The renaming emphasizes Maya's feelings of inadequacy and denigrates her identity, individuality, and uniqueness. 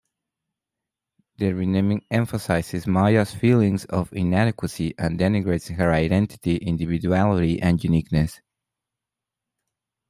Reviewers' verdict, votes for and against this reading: accepted, 2, 0